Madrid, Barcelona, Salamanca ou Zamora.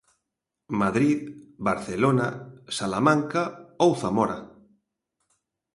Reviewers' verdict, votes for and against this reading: accepted, 2, 0